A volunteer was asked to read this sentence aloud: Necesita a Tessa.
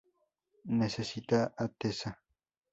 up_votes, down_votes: 2, 0